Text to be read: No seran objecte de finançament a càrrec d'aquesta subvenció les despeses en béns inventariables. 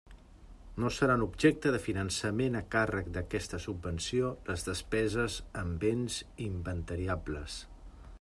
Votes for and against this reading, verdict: 2, 0, accepted